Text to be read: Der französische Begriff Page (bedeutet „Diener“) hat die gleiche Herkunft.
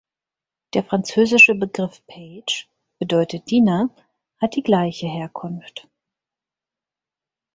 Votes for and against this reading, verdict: 0, 4, rejected